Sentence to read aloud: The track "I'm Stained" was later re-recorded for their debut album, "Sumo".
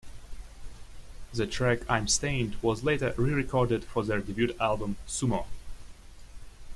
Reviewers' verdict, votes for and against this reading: rejected, 1, 2